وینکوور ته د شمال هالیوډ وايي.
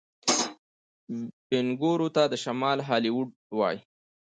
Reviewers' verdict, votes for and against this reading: accepted, 2, 1